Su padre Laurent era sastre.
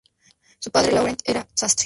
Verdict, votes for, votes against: rejected, 0, 2